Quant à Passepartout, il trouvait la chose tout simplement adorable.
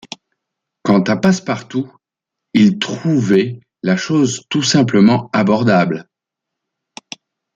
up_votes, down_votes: 1, 2